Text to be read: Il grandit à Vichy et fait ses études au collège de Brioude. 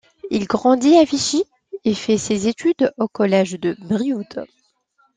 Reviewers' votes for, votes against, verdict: 2, 1, accepted